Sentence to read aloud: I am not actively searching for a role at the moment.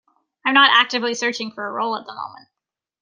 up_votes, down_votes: 2, 0